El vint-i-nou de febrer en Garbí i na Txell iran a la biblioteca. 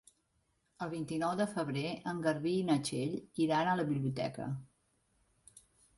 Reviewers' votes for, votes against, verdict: 3, 0, accepted